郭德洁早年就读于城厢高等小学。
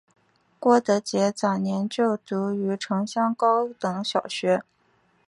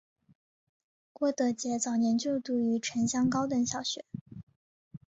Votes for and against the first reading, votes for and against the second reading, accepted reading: 2, 0, 0, 2, first